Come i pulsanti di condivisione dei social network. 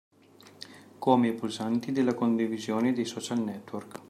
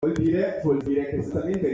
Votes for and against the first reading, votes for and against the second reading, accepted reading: 2, 0, 0, 2, first